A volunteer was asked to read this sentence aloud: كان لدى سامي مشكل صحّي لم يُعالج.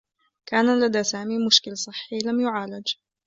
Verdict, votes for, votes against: accepted, 2, 0